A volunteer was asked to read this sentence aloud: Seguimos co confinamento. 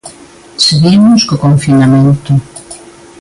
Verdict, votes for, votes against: accepted, 2, 0